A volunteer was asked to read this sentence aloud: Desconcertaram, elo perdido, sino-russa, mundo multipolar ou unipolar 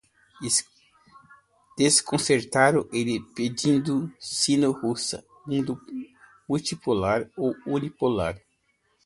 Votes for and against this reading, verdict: 1, 2, rejected